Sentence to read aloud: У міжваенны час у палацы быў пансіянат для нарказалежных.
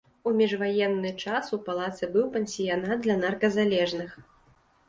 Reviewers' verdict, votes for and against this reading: accepted, 3, 0